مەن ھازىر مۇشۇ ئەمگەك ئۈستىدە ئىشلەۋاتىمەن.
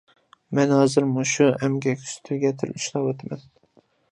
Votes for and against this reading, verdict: 0, 2, rejected